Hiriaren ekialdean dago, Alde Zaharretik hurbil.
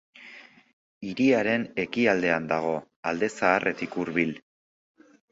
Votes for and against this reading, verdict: 2, 0, accepted